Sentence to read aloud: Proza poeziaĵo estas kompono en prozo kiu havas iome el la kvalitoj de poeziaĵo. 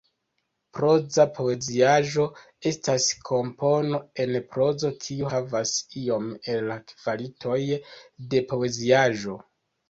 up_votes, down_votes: 1, 2